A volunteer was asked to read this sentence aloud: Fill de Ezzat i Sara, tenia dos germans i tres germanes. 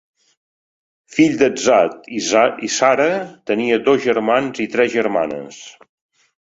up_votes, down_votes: 1, 3